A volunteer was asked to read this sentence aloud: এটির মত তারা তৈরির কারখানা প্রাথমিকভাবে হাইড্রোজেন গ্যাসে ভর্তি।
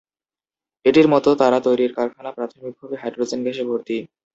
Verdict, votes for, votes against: rejected, 1, 2